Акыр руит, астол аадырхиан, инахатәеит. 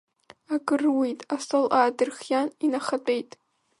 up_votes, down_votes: 0, 2